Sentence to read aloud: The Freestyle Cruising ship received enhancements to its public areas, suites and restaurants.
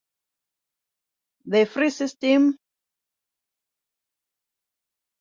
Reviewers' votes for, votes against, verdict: 0, 2, rejected